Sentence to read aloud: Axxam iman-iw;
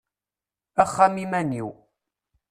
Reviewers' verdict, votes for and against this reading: accepted, 2, 0